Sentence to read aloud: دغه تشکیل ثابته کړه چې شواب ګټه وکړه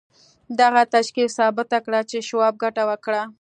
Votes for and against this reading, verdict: 2, 0, accepted